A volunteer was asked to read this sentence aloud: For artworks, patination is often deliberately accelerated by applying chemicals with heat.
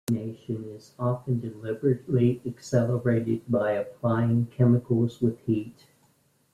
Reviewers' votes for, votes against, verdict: 0, 2, rejected